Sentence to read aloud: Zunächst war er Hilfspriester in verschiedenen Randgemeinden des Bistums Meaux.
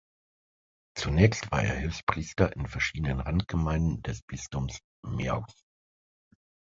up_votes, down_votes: 1, 2